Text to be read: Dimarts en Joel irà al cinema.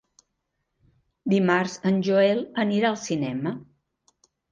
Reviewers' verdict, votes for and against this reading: rejected, 0, 2